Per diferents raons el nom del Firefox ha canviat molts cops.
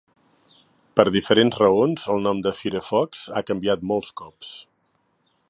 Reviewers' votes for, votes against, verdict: 0, 3, rejected